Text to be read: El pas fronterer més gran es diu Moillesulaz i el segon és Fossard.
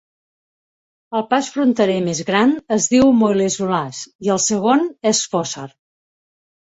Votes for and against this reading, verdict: 0, 2, rejected